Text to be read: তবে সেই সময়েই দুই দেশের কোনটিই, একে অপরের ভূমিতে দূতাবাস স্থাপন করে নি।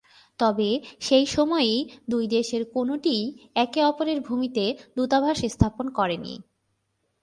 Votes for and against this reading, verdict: 17, 1, accepted